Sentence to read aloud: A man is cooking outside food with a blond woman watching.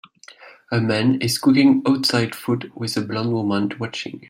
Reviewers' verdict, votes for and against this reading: accepted, 2, 1